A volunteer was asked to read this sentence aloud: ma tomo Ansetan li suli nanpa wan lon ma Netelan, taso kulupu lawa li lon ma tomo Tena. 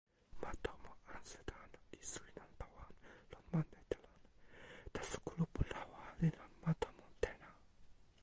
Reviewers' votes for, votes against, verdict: 1, 2, rejected